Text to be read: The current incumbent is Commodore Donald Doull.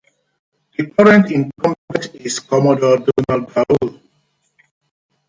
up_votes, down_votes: 0, 2